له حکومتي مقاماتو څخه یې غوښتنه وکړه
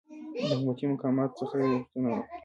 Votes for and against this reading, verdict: 1, 2, rejected